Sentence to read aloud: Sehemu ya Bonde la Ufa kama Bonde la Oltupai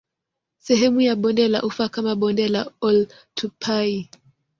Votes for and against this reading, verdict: 2, 0, accepted